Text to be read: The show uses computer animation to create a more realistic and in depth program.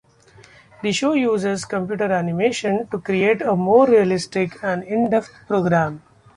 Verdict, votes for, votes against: accepted, 2, 1